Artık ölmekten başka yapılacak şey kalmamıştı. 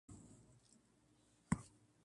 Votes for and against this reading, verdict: 0, 3, rejected